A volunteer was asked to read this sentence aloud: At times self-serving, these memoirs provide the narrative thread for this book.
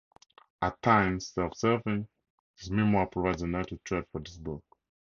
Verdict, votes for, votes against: rejected, 2, 2